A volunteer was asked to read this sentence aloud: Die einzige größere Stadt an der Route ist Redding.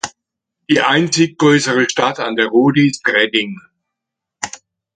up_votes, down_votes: 1, 2